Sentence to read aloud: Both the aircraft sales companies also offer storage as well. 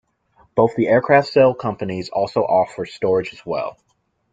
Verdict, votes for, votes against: accepted, 2, 0